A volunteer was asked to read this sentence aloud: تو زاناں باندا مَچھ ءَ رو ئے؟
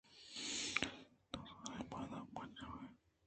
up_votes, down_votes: 2, 0